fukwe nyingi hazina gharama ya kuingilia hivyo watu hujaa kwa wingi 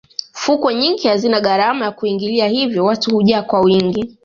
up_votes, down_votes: 2, 0